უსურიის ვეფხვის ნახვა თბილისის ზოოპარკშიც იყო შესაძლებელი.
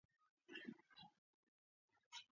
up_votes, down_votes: 0, 2